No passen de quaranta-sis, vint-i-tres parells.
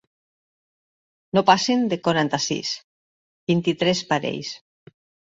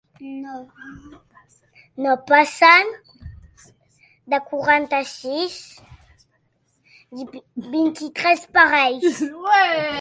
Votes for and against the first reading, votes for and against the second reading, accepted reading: 3, 0, 0, 3, first